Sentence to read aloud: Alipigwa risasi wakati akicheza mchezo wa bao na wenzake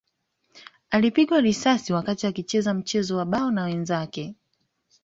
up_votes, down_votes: 2, 0